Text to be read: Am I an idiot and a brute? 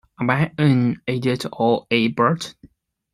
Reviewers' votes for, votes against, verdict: 2, 1, accepted